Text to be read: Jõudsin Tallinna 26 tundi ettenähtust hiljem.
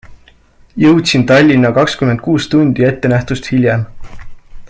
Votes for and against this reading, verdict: 0, 2, rejected